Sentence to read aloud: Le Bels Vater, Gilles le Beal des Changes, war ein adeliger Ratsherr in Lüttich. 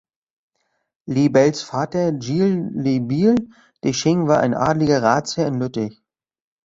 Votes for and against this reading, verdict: 0, 2, rejected